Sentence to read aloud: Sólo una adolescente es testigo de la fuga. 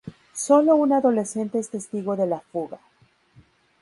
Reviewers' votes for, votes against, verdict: 0, 2, rejected